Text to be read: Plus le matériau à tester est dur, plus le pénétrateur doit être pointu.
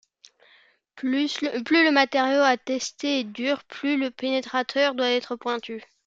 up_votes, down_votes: 0, 2